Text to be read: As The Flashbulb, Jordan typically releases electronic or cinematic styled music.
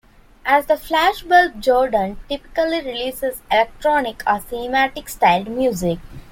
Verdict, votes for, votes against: accepted, 2, 1